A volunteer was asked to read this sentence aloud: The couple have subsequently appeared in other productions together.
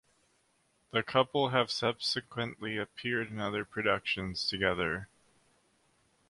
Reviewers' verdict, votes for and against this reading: accepted, 2, 0